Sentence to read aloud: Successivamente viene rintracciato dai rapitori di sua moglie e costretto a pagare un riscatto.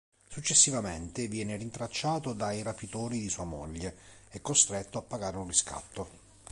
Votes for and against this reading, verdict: 2, 0, accepted